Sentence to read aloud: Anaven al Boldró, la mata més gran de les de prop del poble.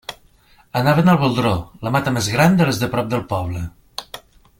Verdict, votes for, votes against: accepted, 2, 0